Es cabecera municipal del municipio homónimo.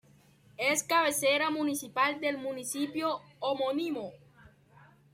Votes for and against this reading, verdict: 1, 2, rejected